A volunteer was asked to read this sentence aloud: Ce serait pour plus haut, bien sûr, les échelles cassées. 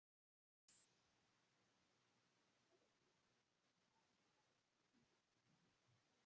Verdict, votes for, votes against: rejected, 0, 2